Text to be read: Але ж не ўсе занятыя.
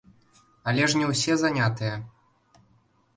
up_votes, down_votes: 2, 0